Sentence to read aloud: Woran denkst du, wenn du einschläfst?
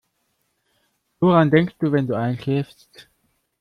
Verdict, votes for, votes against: accepted, 3, 0